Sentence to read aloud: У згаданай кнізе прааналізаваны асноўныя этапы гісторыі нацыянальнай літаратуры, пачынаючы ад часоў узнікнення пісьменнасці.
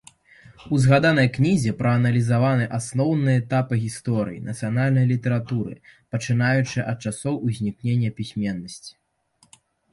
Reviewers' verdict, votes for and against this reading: accepted, 2, 0